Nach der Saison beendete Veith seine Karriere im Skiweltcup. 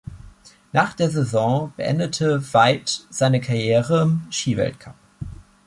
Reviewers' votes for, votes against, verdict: 1, 2, rejected